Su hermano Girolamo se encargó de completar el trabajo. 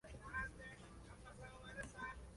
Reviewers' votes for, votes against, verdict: 0, 2, rejected